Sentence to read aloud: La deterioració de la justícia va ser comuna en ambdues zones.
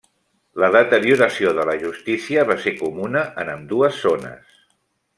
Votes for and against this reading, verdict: 3, 0, accepted